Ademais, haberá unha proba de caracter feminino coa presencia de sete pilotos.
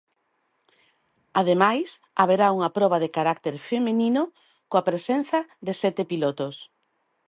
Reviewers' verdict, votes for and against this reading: rejected, 1, 2